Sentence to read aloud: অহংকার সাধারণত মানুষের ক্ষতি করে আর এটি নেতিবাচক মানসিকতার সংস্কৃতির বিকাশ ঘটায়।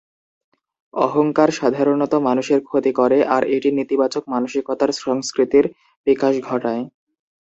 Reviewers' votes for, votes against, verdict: 0, 2, rejected